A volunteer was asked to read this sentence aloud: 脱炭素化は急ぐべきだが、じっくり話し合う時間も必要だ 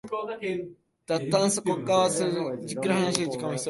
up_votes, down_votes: 0, 3